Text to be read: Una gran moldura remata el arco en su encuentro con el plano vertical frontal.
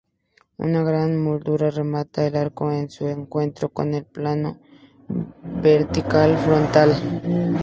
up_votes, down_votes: 0, 2